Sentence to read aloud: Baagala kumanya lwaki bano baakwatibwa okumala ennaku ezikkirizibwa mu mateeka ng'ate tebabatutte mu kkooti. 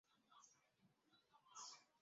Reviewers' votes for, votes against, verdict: 0, 2, rejected